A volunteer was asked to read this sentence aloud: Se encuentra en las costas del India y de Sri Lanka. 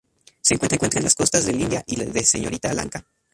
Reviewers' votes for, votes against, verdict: 0, 2, rejected